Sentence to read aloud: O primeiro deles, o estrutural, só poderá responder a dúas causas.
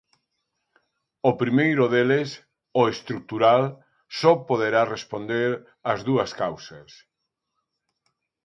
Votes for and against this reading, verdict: 0, 2, rejected